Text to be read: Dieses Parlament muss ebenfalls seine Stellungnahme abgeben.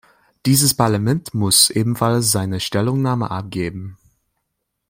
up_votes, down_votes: 2, 0